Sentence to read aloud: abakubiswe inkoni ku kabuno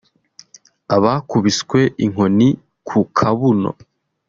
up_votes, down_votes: 2, 0